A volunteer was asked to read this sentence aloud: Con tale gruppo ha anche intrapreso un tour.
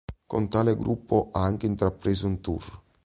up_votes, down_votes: 3, 0